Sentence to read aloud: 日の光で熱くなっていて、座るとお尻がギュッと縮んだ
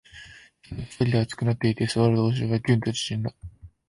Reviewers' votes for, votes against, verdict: 1, 2, rejected